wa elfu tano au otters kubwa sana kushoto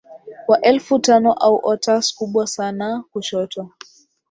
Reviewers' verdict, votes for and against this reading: accepted, 5, 4